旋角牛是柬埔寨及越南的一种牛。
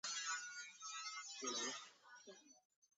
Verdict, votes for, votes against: rejected, 0, 3